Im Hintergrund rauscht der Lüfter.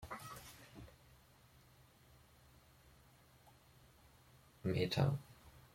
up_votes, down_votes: 0, 2